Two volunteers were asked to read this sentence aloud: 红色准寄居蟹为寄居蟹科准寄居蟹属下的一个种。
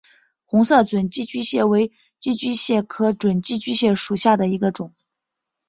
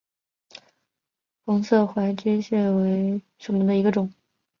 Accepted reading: first